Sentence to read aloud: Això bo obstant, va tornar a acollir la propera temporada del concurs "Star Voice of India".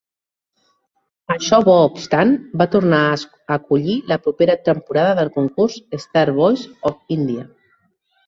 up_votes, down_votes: 1, 2